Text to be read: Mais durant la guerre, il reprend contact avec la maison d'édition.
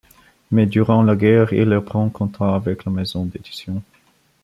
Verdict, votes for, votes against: accepted, 2, 1